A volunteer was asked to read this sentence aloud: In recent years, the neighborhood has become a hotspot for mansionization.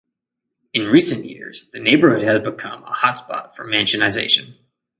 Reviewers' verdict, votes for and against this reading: rejected, 0, 2